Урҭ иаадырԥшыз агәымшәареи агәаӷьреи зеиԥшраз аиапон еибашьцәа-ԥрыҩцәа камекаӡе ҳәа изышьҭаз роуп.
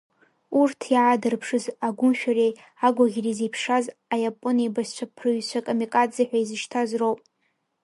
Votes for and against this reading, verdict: 2, 3, rejected